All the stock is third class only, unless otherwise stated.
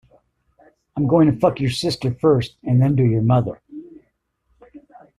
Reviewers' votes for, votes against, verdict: 0, 2, rejected